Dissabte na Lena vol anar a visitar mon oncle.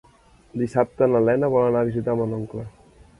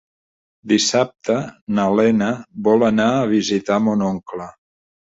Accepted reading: second